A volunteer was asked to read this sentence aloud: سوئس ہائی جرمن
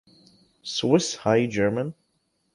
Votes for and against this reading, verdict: 2, 0, accepted